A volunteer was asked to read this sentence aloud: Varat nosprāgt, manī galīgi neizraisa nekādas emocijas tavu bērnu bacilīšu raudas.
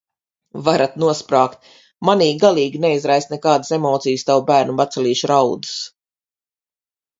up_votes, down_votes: 4, 0